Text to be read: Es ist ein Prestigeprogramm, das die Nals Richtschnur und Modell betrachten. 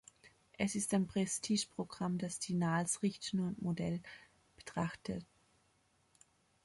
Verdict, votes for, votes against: rejected, 0, 2